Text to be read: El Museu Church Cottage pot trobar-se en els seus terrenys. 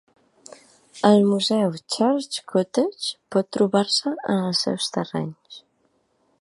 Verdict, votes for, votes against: accepted, 2, 0